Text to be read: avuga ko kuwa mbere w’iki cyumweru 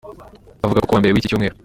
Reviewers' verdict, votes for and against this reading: accepted, 2, 0